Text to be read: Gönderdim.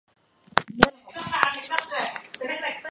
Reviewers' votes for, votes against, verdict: 0, 2, rejected